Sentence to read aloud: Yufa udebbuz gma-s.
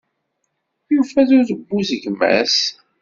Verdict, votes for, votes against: accepted, 2, 0